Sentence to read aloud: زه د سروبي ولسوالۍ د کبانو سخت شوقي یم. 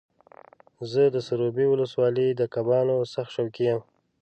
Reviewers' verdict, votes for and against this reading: accepted, 2, 0